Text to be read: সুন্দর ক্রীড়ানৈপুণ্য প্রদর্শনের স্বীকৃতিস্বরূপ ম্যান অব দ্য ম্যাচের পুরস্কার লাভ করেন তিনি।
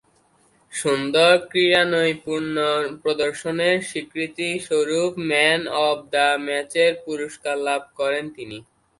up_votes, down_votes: 4, 1